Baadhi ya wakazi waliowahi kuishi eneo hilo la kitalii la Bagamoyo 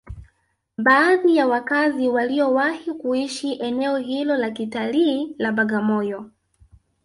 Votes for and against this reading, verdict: 0, 2, rejected